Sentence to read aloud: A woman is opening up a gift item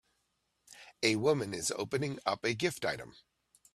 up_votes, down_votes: 2, 0